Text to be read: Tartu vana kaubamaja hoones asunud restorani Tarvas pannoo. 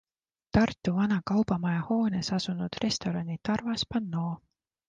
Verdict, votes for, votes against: accepted, 2, 0